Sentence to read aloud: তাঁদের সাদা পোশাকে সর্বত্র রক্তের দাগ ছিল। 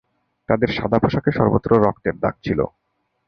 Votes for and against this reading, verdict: 2, 0, accepted